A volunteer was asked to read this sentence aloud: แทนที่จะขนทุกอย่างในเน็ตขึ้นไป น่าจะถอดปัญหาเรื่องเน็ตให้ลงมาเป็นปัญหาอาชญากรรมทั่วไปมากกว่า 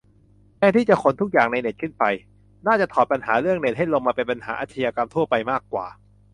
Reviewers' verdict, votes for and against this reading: accepted, 2, 0